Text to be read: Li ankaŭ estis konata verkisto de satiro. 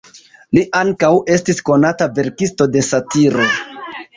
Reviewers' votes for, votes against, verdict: 2, 1, accepted